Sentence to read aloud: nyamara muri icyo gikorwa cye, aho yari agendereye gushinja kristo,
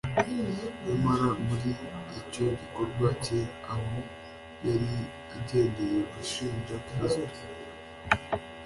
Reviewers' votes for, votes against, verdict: 1, 2, rejected